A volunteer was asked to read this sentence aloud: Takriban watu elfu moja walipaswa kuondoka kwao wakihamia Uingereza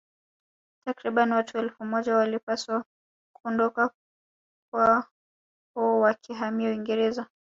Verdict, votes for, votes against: rejected, 1, 2